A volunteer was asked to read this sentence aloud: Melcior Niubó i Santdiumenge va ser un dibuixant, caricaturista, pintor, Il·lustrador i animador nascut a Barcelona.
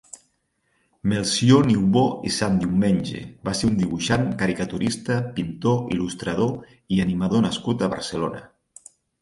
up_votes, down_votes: 4, 0